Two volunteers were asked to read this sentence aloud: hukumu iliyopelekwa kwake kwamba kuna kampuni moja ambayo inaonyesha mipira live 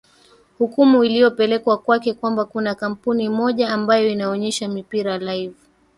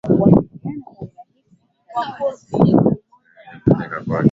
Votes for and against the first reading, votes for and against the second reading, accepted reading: 4, 2, 0, 2, first